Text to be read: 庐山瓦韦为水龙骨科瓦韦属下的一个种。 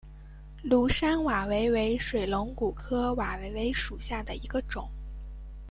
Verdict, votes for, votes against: accepted, 2, 0